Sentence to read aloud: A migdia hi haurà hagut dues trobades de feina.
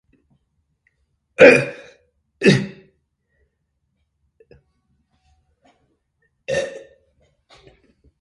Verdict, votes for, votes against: rejected, 0, 2